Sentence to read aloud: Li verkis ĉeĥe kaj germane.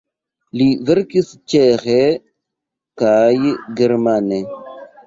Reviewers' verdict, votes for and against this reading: accepted, 2, 0